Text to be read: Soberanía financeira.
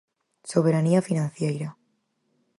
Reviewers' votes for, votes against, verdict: 2, 4, rejected